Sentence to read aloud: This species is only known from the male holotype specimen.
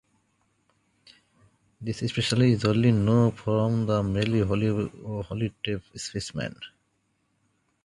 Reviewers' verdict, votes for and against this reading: rejected, 0, 2